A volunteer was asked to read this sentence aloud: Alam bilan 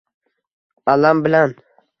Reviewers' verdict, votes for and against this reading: accepted, 2, 0